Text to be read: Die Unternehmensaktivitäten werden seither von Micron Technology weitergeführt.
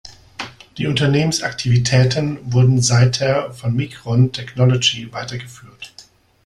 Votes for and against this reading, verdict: 1, 2, rejected